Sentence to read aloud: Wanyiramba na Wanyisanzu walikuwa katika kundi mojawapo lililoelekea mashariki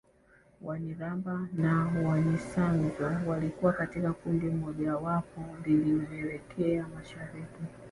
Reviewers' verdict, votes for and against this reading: accepted, 2, 0